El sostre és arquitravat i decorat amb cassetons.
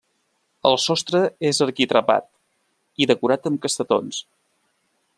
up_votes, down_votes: 0, 3